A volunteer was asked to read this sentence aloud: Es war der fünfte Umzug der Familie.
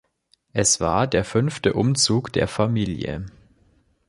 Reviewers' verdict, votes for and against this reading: accepted, 2, 0